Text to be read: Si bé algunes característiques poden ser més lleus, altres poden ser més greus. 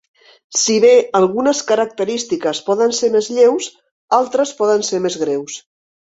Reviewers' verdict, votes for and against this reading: accepted, 2, 0